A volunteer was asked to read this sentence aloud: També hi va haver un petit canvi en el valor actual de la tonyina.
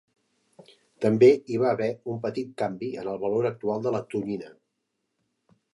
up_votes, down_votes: 2, 0